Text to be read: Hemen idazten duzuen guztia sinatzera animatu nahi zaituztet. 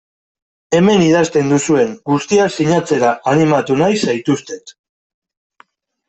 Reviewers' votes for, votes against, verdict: 2, 0, accepted